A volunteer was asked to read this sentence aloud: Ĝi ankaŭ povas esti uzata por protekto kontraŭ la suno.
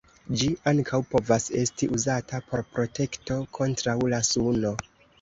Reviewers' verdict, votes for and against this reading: accepted, 2, 0